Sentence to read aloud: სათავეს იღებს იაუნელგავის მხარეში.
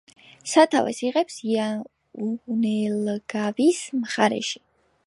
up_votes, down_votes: 1, 2